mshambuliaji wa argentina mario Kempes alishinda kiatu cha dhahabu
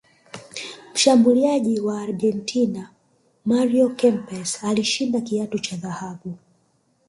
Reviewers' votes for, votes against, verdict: 2, 3, rejected